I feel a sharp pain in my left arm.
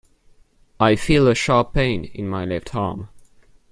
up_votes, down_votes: 0, 2